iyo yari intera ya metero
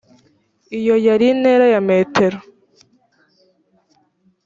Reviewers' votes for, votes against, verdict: 3, 0, accepted